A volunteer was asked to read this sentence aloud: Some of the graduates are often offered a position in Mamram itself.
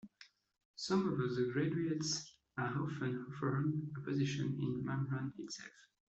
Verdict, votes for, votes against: rejected, 1, 2